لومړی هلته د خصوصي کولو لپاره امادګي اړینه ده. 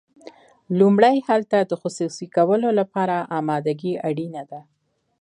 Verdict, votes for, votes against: accepted, 2, 0